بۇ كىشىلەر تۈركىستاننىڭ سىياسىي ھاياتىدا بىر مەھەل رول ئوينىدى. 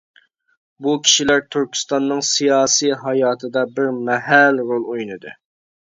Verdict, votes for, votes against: accepted, 2, 0